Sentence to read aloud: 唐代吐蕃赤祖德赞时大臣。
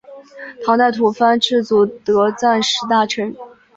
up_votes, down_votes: 7, 0